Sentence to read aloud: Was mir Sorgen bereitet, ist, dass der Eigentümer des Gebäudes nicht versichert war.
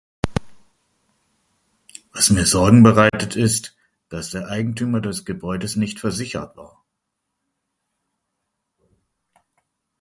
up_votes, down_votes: 2, 0